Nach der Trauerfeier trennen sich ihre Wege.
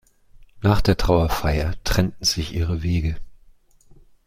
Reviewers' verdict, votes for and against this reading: rejected, 1, 2